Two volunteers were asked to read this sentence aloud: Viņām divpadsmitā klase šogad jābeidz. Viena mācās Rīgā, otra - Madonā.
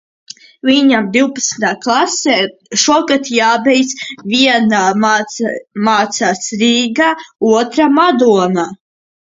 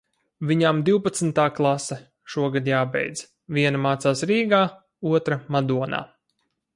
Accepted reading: second